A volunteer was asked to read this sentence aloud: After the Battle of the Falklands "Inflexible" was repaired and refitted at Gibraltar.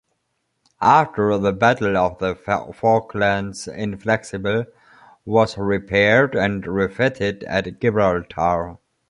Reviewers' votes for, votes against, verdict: 1, 2, rejected